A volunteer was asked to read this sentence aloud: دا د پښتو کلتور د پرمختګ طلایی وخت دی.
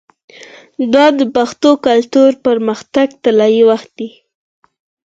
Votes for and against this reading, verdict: 4, 0, accepted